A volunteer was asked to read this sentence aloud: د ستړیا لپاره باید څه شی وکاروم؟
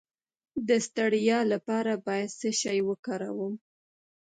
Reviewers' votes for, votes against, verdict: 1, 2, rejected